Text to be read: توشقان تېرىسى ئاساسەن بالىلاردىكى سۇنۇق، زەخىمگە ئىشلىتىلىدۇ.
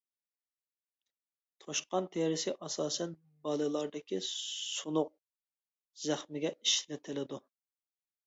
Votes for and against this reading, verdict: 2, 0, accepted